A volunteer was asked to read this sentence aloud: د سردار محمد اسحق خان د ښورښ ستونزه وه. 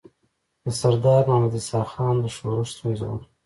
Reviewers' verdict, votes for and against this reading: accepted, 2, 0